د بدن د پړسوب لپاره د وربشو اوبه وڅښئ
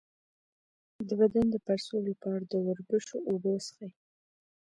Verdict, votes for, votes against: accepted, 3, 2